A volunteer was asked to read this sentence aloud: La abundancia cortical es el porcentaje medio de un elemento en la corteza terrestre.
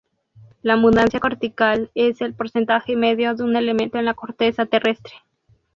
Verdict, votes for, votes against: rejected, 0, 2